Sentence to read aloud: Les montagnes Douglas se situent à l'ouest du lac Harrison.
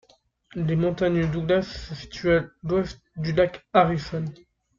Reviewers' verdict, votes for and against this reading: rejected, 0, 2